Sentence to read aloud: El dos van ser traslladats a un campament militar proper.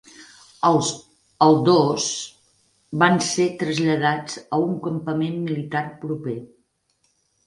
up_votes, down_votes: 0, 6